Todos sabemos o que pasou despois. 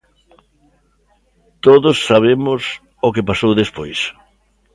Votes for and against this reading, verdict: 2, 0, accepted